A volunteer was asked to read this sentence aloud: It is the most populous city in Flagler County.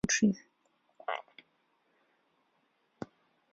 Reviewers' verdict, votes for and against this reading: rejected, 0, 2